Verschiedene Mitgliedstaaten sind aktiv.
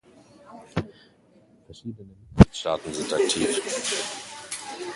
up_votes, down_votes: 1, 2